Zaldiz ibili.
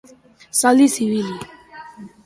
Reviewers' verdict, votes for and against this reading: accepted, 2, 1